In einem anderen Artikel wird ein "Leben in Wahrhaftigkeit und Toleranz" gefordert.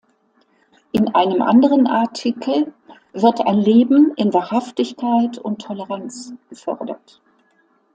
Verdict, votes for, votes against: accepted, 2, 0